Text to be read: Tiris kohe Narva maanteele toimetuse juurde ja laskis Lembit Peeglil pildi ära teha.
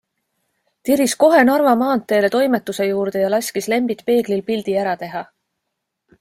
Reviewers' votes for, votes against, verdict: 2, 0, accepted